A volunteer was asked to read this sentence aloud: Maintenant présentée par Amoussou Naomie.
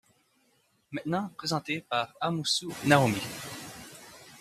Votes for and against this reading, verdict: 2, 0, accepted